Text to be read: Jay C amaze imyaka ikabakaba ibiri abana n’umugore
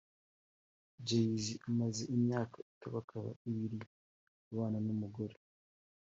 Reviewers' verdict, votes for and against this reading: accepted, 3, 2